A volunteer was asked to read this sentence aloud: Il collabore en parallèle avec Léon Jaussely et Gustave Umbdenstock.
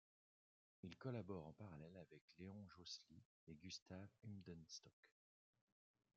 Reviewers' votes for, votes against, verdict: 1, 2, rejected